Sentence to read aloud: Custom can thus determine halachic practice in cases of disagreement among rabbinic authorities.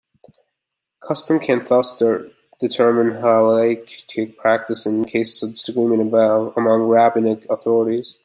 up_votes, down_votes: 1, 2